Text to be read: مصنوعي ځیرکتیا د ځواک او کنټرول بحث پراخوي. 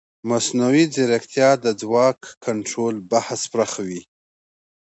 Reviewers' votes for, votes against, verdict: 2, 0, accepted